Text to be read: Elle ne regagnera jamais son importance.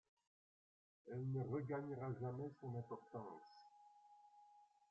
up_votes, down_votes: 0, 2